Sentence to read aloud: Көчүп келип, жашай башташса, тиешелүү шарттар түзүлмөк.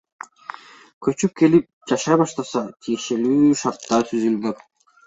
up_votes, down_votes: 3, 2